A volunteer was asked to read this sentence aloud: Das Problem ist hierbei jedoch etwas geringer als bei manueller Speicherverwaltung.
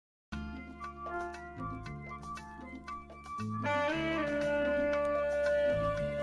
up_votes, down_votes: 0, 2